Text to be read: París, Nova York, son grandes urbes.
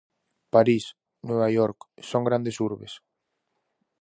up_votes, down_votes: 4, 0